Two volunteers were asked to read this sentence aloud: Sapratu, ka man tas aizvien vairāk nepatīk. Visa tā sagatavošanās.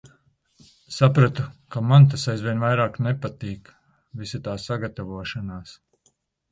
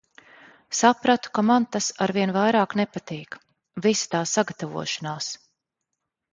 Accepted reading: first